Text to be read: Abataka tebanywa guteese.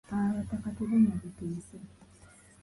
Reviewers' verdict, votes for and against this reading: accepted, 2, 0